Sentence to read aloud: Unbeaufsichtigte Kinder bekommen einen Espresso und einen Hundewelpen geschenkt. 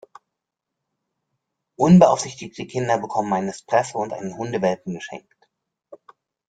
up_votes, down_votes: 2, 0